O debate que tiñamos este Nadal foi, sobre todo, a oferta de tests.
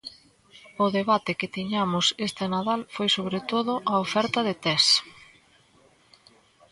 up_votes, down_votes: 2, 0